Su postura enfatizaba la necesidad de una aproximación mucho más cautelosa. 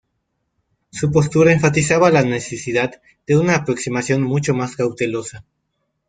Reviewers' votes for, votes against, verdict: 2, 0, accepted